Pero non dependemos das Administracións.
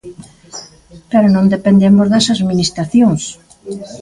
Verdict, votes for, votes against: rejected, 1, 2